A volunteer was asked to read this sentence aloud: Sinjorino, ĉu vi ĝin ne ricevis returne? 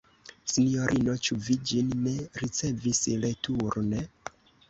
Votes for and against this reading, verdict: 0, 2, rejected